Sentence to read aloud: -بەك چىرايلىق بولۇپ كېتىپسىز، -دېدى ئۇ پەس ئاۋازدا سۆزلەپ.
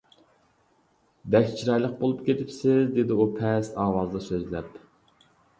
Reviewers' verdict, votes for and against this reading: accepted, 2, 0